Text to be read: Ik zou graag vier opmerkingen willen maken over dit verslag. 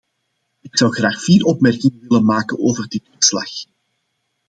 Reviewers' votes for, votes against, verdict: 2, 0, accepted